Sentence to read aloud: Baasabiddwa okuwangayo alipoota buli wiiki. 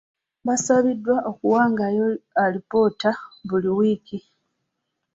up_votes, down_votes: 2, 0